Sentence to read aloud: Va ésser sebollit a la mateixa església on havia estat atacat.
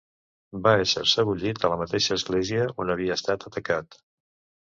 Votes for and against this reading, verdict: 2, 0, accepted